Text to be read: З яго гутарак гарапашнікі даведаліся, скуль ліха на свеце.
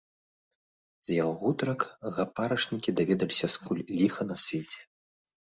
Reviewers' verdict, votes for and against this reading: rejected, 1, 2